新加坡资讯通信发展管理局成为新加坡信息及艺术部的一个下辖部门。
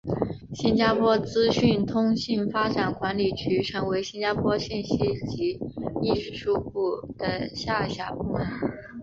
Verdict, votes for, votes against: rejected, 1, 2